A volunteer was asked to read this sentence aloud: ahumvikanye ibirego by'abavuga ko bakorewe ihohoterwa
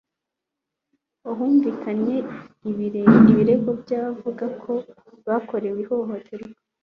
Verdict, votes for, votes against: accepted, 2, 1